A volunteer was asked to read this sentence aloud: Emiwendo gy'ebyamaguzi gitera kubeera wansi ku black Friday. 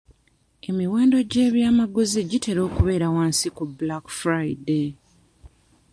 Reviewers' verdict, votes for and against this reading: rejected, 1, 2